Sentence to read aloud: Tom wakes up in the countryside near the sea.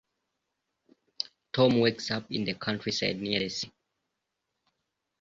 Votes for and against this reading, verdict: 0, 2, rejected